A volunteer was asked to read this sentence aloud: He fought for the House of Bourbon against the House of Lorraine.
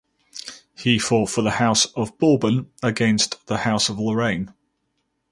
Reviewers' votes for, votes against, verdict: 4, 0, accepted